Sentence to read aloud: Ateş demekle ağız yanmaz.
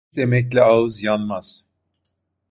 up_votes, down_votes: 0, 2